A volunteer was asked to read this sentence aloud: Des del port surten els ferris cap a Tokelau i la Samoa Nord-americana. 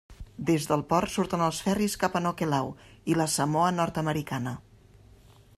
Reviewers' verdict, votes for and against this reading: rejected, 1, 2